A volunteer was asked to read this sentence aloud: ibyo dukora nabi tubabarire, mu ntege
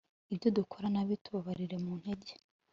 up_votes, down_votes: 3, 0